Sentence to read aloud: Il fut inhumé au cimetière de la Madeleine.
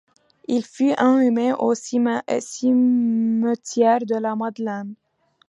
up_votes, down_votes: 1, 2